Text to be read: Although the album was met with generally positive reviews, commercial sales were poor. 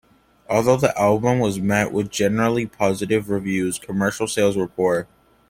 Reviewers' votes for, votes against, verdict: 2, 0, accepted